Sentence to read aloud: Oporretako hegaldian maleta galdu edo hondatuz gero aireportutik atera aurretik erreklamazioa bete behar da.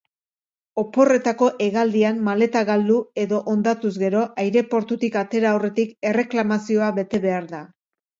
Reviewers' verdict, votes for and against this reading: accepted, 2, 0